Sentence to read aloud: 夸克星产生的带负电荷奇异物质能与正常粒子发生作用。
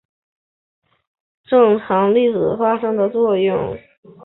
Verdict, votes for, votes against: rejected, 0, 2